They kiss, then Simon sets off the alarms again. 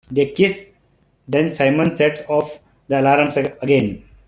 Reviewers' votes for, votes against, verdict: 1, 2, rejected